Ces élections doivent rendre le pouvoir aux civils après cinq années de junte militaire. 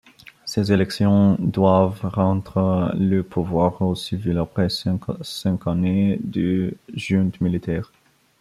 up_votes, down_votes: 0, 2